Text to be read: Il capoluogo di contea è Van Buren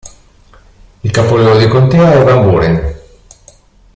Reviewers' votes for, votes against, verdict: 1, 2, rejected